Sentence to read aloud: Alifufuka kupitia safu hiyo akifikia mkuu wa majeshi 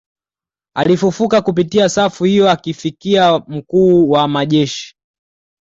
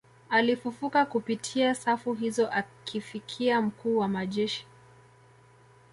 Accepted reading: first